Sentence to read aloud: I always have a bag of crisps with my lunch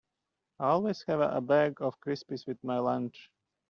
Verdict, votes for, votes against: rejected, 1, 2